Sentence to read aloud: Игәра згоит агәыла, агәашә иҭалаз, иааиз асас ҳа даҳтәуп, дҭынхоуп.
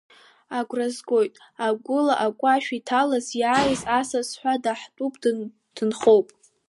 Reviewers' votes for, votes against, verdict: 1, 2, rejected